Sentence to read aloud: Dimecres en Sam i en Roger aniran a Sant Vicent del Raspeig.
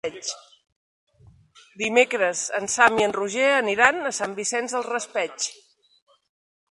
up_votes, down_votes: 1, 2